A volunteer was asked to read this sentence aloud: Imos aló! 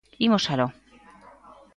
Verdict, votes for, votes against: accepted, 2, 0